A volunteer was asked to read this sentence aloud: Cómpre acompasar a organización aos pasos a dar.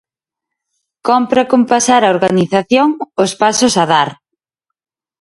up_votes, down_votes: 2, 0